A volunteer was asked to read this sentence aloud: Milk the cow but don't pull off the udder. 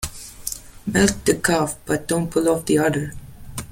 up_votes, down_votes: 2, 0